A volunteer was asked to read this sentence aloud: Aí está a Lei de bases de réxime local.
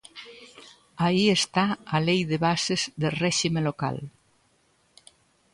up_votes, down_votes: 2, 0